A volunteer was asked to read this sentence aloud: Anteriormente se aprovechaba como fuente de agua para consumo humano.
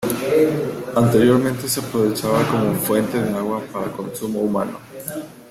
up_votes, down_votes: 2, 0